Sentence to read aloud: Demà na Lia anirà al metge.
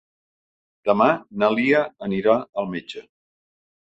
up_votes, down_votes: 3, 0